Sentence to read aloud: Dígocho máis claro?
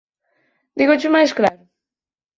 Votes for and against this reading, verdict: 6, 2, accepted